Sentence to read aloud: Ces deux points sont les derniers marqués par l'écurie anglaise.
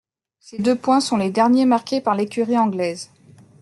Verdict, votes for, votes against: accepted, 2, 0